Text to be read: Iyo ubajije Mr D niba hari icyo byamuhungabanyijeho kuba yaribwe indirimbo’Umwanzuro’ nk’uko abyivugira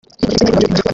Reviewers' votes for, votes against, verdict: 0, 2, rejected